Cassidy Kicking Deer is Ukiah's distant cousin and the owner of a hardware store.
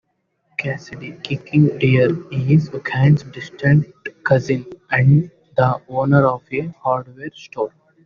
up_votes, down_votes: 0, 2